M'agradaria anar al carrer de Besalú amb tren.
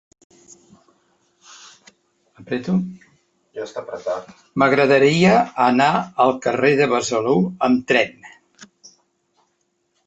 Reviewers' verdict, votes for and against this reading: rejected, 1, 3